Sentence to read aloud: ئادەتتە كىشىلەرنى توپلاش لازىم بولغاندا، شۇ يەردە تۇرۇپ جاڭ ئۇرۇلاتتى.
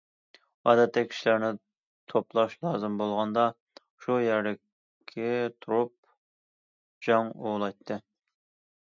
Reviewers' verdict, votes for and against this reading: rejected, 1, 2